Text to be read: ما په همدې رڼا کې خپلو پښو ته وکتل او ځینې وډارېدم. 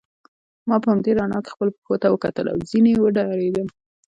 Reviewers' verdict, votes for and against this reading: rejected, 0, 2